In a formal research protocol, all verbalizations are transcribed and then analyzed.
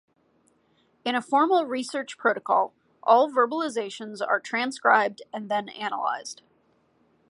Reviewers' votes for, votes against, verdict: 2, 0, accepted